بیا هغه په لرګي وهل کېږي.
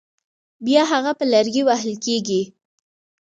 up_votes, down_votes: 2, 1